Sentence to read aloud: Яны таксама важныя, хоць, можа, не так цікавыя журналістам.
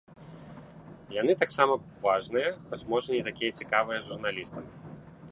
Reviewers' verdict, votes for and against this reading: rejected, 0, 2